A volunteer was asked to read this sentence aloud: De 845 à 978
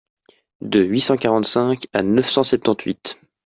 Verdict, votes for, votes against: rejected, 0, 2